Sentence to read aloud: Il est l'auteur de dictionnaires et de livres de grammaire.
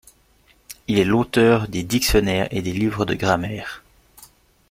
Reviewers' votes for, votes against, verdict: 1, 2, rejected